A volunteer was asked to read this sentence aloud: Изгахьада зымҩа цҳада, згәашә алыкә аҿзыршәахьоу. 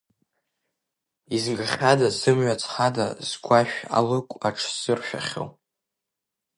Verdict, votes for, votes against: rejected, 0, 2